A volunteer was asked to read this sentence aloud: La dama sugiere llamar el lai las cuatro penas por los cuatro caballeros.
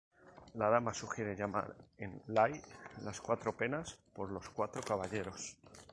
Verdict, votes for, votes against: accepted, 2, 0